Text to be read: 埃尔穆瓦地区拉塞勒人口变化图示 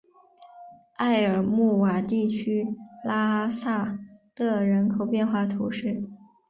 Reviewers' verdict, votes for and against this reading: rejected, 1, 2